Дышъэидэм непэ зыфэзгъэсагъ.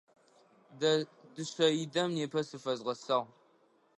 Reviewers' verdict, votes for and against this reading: rejected, 1, 2